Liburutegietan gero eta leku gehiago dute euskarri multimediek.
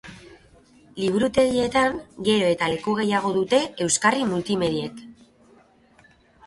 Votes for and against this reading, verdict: 2, 0, accepted